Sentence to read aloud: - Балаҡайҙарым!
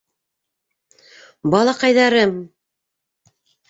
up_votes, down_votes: 3, 1